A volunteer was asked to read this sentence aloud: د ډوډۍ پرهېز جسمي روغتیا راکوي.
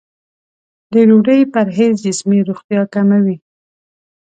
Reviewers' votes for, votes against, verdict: 2, 0, accepted